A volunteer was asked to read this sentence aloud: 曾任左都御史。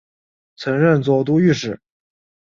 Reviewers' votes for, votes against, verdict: 2, 0, accepted